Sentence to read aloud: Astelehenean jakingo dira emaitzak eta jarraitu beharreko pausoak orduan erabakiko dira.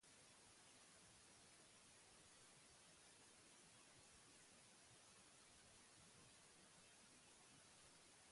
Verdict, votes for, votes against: rejected, 0, 2